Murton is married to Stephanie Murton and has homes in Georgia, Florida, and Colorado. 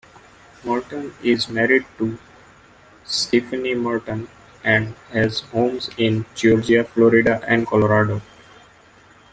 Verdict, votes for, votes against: accepted, 2, 0